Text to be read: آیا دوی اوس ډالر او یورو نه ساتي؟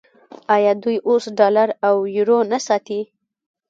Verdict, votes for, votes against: rejected, 0, 2